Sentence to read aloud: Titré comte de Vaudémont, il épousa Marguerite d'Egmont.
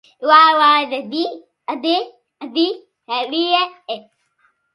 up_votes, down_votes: 0, 2